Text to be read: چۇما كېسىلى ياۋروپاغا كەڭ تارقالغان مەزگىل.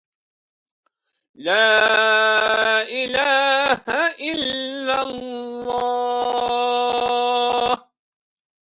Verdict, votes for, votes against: rejected, 0, 2